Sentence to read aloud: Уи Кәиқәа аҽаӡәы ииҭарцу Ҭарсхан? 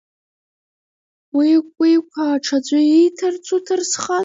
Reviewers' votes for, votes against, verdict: 0, 2, rejected